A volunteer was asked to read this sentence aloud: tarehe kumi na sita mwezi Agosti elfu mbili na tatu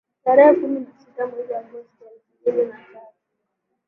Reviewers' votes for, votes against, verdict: 2, 5, rejected